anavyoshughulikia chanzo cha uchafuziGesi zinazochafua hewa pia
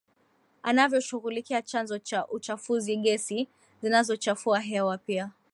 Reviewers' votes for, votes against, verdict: 2, 0, accepted